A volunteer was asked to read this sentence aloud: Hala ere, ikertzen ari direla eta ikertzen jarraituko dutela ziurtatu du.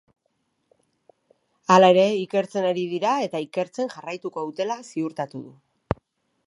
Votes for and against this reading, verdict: 1, 3, rejected